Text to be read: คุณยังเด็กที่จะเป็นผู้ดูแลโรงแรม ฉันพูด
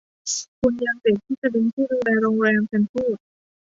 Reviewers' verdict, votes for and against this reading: rejected, 1, 2